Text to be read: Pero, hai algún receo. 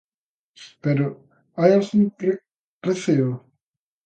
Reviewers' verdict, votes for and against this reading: rejected, 0, 2